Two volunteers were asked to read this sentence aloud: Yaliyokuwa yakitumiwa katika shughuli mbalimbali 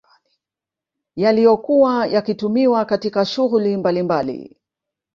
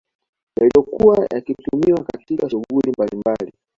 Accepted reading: second